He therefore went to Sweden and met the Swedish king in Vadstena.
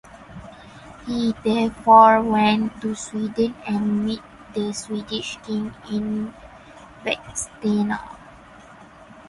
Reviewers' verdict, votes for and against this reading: rejected, 2, 2